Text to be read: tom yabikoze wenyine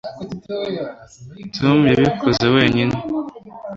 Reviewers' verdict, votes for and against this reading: accepted, 2, 0